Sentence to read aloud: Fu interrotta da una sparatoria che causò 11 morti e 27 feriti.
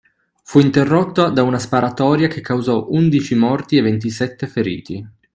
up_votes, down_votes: 0, 2